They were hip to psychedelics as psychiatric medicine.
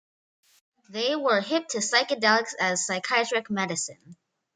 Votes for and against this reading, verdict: 2, 0, accepted